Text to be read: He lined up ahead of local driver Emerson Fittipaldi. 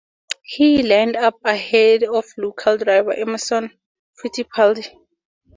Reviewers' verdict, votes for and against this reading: accepted, 2, 0